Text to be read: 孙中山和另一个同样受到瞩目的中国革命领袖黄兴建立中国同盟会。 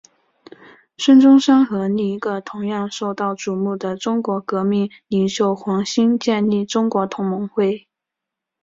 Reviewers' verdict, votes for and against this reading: accepted, 4, 0